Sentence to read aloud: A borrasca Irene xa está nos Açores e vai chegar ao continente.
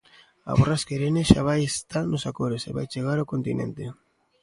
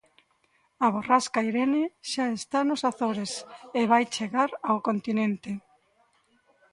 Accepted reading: second